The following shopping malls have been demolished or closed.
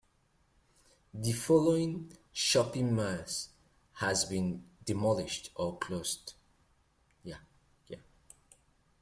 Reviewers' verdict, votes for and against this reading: rejected, 0, 2